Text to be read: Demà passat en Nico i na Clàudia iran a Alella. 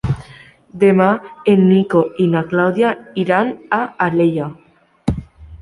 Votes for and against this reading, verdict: 0, 2, rejected